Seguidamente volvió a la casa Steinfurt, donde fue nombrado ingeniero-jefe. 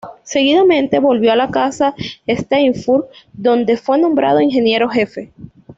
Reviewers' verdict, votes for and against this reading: accepted, 2, 0